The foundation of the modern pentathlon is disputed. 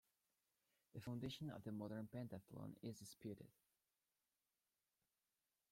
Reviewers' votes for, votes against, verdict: 1, 2, rejected